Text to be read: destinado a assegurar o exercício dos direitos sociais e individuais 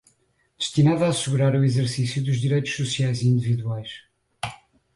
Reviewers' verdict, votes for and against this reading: rejected, 2, 2